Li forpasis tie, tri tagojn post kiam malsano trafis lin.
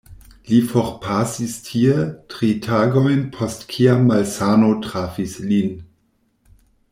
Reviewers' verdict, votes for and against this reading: rejected, 1, 2